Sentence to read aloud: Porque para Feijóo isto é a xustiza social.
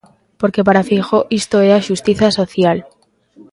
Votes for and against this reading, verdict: 2, 0, accepted